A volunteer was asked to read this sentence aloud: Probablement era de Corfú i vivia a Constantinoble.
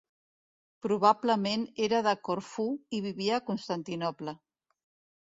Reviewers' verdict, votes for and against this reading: accepted, 2, 0